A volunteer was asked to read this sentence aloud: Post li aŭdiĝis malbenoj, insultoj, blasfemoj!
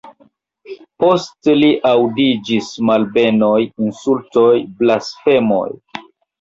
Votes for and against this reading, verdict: 2, 1, accepted